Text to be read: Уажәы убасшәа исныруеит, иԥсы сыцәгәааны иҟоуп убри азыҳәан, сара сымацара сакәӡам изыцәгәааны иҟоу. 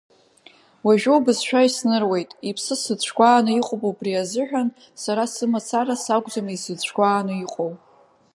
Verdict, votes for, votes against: accepted, 2, 1